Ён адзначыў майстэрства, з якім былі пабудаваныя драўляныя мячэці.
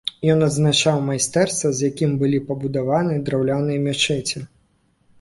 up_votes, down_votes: 1, 2